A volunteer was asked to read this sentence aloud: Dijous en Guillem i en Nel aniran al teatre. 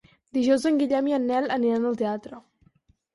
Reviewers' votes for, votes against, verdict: 4, 0, accepted